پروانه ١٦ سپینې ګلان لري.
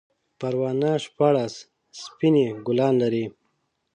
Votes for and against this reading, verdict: 0, 2, rejected